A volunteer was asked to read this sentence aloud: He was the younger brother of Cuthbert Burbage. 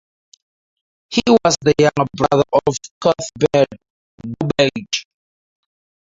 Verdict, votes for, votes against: rejected, 0, 4